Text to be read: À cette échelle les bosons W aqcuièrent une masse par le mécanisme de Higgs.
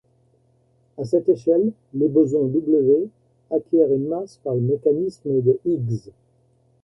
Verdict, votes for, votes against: accepted, 2, 1